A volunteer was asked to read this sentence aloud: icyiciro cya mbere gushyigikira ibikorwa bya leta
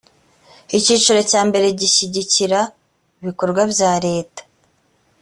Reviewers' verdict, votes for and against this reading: rejected, 2, 3